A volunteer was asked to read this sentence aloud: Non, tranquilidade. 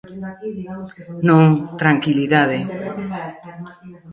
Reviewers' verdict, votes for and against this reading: rejected, 1, 2